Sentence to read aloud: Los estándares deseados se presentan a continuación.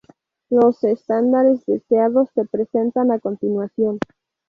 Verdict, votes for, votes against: rejected, 0, 2